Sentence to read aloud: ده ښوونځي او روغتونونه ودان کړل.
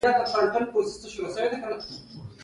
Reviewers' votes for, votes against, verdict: 0, 2, rejected